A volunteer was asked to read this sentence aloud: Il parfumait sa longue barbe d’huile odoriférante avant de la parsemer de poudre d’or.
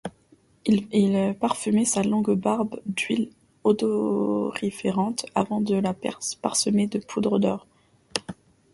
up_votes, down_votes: 0, 2